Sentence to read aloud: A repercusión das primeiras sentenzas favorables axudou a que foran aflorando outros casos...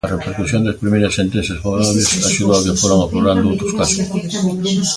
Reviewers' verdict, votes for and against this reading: rejected, 0, 2